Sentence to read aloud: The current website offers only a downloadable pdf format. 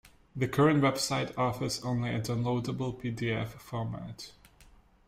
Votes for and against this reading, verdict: 2, 1, accepted